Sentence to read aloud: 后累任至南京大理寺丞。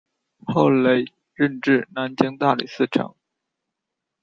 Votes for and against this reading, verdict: 1, 2, rejected